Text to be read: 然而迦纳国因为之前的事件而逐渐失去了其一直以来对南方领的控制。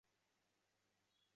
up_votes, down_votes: 0, 3